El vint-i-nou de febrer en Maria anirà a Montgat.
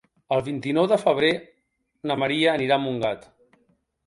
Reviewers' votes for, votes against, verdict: 1, 2, rejected